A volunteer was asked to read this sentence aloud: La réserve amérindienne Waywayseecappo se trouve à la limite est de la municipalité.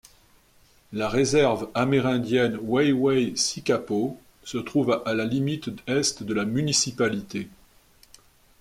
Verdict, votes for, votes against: accepted, 2, 0